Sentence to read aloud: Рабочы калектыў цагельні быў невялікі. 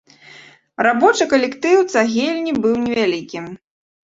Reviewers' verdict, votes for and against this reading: accepted, 2, 0